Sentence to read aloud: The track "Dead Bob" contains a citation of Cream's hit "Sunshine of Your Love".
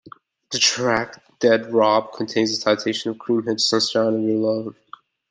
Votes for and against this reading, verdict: 1, 2, rejected